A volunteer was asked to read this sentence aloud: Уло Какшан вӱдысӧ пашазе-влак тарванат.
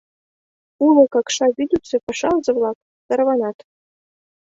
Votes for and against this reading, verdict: 1, 2, rejected